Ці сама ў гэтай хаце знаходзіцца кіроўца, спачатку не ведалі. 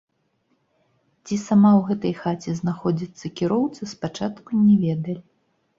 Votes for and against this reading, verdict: 1, 2, rejected